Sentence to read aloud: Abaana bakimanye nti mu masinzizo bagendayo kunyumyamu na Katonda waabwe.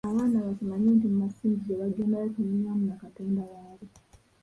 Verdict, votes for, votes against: rejected, 0, 2